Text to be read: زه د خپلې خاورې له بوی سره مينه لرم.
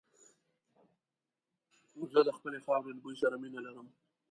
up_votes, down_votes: 0, 2